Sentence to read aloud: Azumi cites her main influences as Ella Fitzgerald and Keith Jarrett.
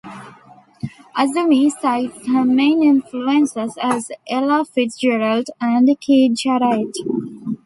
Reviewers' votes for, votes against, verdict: 1, 2, rejected